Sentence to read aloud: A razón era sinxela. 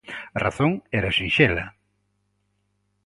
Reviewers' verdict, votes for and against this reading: accepted, 2, 0